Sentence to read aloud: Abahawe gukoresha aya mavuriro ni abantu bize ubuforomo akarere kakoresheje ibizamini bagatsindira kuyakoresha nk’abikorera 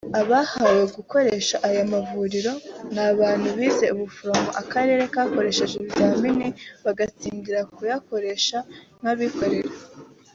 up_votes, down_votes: 4, 0